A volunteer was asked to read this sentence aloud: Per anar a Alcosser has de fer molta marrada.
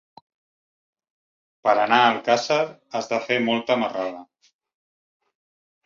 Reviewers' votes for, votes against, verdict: 1, 2, rejected